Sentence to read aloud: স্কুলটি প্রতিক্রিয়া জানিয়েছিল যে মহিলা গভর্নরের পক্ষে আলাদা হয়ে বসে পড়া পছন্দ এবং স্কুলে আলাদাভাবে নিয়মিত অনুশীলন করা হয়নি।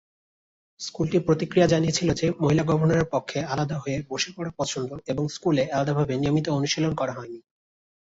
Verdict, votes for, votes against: rejected, 1, 2